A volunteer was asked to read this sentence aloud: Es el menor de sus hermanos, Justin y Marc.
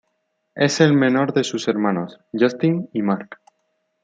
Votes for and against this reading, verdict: 2, 0, accepted